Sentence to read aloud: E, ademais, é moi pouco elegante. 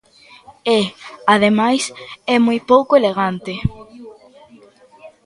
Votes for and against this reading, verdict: 2, 1, accepted